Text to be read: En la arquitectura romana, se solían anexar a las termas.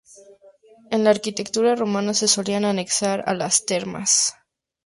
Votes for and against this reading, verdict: 4, 0, accepted